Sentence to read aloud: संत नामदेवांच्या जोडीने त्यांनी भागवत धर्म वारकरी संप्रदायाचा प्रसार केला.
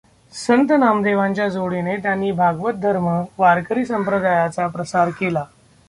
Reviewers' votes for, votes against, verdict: 2, 0, accepted